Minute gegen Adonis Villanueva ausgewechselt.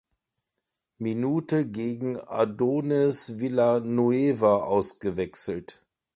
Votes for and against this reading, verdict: 2, 1, accepted